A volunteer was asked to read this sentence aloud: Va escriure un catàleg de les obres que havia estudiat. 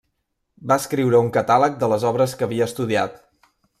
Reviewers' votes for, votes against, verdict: 0, 2, rejected